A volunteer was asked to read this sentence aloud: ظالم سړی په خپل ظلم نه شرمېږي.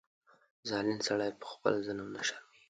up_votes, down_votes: 2, 0